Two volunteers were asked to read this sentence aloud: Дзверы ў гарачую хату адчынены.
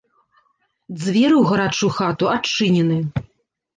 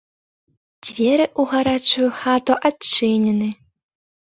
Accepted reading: second